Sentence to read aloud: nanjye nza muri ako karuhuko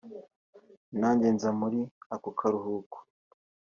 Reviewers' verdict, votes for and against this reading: accepted, 2, 0